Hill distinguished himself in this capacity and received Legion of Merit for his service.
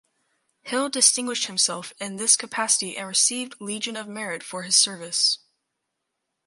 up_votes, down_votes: 4, 0